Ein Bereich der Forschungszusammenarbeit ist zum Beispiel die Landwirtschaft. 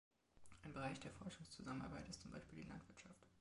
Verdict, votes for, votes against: accepted, 2, 1